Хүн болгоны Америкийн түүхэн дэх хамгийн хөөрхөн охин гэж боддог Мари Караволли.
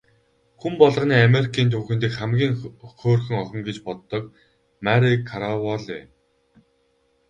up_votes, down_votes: 2, 2